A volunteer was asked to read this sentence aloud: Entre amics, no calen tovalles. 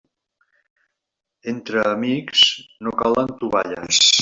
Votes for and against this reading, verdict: 3, 0, accepted